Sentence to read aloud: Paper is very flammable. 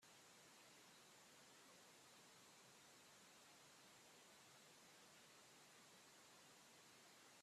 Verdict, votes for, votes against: rejected, 0, 2